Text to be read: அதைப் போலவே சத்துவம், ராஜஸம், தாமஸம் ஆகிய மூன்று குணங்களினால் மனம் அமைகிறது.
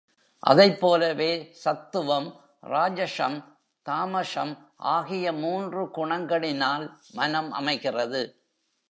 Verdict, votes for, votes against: rejected, 1, 2